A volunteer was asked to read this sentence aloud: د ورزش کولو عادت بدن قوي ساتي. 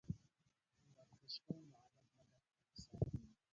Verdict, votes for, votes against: rejected, 0, 3